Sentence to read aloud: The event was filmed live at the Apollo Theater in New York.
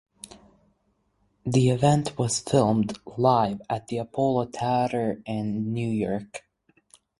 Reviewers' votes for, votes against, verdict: 0, 4, rejected